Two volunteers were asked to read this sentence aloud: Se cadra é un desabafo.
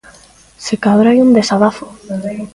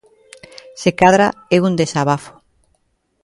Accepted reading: second